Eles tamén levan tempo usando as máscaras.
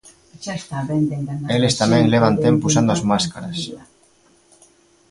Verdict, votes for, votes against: rejected, 0, 2